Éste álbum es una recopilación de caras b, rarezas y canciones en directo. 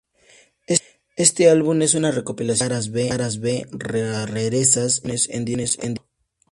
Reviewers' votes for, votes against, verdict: 0, 2, rejected